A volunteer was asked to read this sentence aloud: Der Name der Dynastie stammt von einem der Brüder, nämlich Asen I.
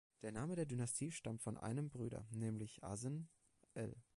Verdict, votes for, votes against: rejected, 0, 2